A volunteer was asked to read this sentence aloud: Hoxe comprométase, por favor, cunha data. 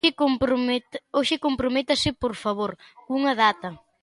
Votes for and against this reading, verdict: 0, 2, rejected